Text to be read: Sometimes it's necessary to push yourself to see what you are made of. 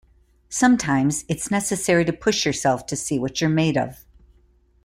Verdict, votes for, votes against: accepted, 2, 1